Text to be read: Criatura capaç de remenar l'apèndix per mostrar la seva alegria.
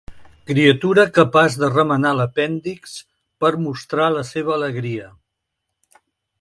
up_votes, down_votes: 3, 0